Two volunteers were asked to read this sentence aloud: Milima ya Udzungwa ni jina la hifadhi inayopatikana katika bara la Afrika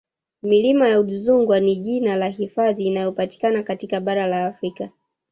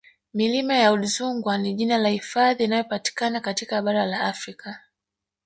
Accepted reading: first